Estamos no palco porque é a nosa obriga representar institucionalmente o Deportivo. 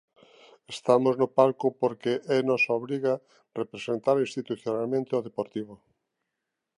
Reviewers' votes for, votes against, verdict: 2, 0, accepted